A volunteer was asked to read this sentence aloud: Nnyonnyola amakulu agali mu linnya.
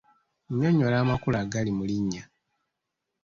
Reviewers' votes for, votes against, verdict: 2, 0, accepted